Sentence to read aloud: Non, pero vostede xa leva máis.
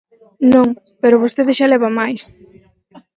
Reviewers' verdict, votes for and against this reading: accepted, 4, 0